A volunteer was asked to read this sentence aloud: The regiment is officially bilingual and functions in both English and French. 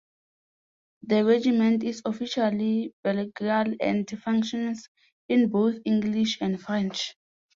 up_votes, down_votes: 0, 2